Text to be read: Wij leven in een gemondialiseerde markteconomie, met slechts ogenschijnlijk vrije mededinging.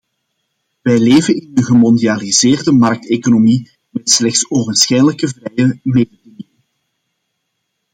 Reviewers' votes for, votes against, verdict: 0, 2, rejected